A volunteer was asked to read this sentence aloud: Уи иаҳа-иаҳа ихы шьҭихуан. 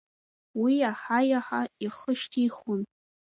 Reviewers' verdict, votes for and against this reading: rejected, 0, 2